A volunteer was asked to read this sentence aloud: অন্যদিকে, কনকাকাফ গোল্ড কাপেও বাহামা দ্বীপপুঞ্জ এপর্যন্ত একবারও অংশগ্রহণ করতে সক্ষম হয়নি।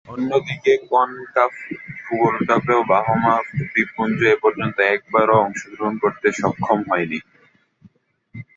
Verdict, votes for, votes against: rejected, 0, 3